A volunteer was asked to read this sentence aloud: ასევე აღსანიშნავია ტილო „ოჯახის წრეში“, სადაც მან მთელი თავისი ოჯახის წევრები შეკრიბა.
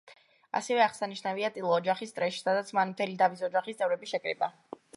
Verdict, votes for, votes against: rejected, 0, 2